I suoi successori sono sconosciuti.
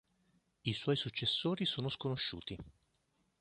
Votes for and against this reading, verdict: 2, 0, accepted